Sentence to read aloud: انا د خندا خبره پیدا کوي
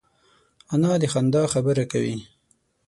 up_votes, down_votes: 3, 6